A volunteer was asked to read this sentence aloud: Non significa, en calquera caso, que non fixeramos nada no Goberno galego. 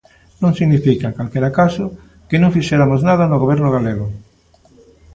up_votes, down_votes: 2, 0